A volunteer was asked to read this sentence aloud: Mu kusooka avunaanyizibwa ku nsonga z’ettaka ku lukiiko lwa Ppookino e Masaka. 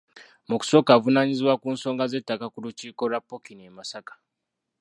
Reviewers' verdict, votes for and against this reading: rejected, 0, 2